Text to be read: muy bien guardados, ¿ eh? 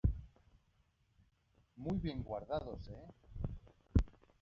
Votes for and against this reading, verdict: 1, 2, rejected